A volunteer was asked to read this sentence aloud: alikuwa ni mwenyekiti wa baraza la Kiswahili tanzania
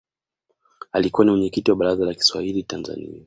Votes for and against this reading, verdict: 1, 2, rejected